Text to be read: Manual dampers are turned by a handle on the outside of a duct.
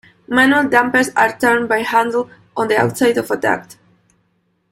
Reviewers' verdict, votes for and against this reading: rejected, 0, 2